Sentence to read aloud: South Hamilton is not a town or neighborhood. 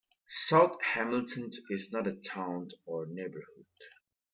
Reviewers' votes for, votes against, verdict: 2, 0, accepted